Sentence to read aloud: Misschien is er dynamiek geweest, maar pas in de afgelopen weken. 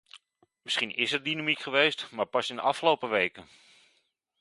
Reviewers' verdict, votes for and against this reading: rejected, 1, 2